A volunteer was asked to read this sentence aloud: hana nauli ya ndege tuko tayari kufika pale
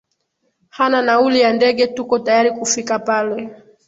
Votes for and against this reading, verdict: 11, 1, accepted